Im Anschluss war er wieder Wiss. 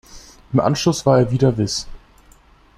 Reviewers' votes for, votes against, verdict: 2, 0, accepted